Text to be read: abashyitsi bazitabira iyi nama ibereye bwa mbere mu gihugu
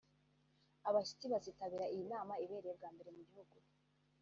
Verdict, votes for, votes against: rejected, 0, 2